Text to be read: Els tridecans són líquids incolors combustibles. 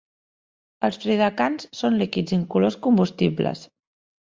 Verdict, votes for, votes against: accepted, 3, 0